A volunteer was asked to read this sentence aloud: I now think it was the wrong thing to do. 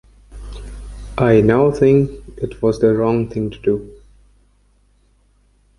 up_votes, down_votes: 1, 2